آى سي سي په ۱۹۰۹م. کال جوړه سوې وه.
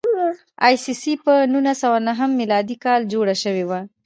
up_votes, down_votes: 0, 2